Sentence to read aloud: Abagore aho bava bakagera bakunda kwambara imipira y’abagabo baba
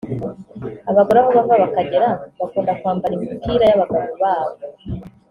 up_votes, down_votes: 1, 2